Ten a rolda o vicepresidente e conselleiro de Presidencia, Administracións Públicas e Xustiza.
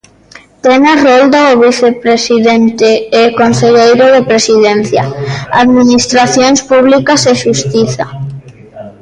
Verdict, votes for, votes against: rejected, 1, 2